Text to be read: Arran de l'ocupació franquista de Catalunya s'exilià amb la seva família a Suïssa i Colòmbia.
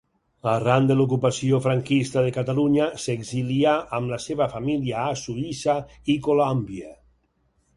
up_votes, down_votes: 4, 0